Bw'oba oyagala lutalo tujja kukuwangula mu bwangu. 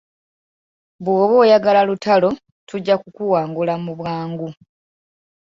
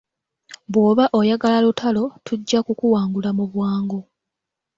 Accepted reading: second